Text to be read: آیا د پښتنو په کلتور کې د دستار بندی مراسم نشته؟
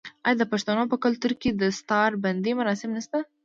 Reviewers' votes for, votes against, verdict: 2, 1, accepted